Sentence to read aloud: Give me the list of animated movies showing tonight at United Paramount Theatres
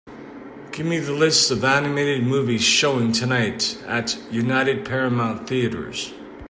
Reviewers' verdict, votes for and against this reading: accepted, 2, 0